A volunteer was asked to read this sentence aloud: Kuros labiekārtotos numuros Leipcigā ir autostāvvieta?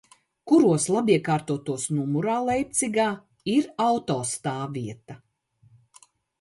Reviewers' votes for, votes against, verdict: 0, 2, rejected